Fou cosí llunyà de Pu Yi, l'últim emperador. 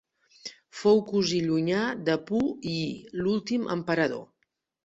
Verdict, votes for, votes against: accepted, 4, 0